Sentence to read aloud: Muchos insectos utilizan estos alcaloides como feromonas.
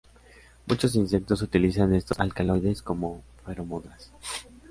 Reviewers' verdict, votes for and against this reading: rejected, 0, 2